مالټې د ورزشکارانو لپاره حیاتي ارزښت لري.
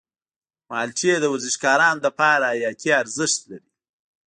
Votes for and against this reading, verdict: 1, 2, rejected